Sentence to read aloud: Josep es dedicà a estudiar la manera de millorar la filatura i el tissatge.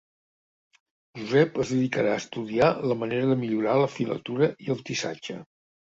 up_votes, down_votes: 0, 2